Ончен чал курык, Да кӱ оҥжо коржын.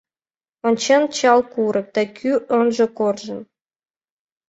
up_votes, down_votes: 2, 0